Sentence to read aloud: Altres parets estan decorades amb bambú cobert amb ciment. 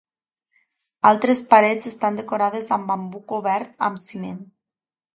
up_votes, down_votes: 2, 0